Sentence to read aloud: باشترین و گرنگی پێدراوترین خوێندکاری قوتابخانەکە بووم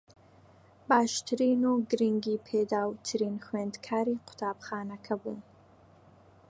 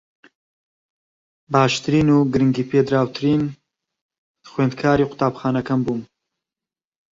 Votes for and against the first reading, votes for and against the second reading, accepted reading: 3, 2, 1, 2, first